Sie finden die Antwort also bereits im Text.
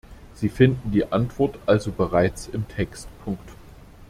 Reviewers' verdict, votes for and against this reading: rejected, 0, 2